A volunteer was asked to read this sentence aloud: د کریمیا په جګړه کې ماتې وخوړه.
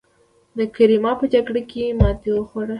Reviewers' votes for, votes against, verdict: 1, 2, rejected